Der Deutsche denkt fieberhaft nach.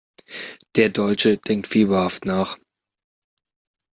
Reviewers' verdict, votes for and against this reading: accepted, 2, 1